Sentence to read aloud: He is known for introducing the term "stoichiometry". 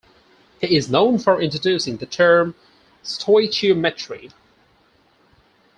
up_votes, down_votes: 4, 0